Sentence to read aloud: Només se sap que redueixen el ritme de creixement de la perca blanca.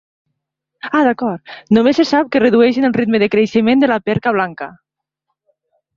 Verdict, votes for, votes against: rejected, 1, 2